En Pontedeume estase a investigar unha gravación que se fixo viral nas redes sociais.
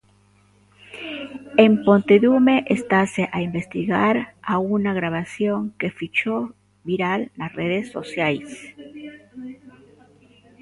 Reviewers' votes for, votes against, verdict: 0, 2, rejected